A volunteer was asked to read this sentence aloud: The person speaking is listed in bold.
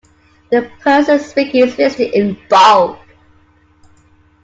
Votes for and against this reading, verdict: 2, 0, accepted